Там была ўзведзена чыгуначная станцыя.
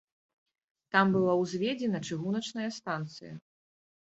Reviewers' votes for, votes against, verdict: 2, 0, accepted